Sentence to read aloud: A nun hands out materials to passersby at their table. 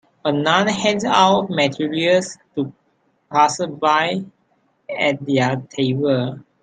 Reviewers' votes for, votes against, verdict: 0, 3, rejected